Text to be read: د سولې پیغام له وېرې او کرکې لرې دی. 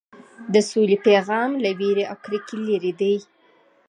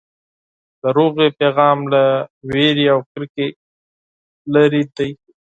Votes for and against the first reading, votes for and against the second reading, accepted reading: 2, 0, 2, 4, first